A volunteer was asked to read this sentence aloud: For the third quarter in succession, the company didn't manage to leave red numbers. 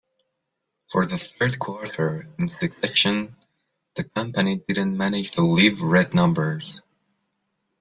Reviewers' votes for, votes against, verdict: 1, 2, rejected